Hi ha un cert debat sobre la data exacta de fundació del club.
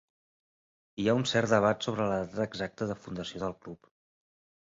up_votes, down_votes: 0, 3